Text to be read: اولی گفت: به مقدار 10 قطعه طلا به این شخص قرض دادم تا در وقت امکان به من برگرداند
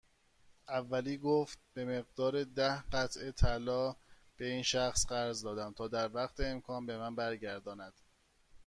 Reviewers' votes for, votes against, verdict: 0, 2, rejected